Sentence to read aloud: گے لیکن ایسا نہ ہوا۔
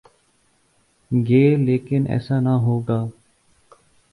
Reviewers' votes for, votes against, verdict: 2, 2, rejected